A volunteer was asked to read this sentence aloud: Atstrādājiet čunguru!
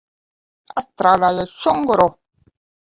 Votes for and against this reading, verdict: 0, 2, rejected